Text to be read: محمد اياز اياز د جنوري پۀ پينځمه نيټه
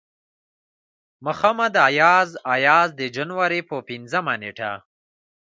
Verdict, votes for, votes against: accepted, 2, 1